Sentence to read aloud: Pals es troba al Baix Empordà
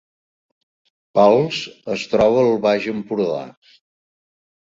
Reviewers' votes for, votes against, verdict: 2, 0, accepted